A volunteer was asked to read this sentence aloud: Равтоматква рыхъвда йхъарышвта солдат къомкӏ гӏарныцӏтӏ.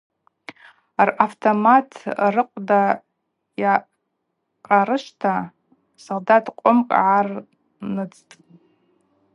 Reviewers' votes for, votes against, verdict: 4, 0, accepted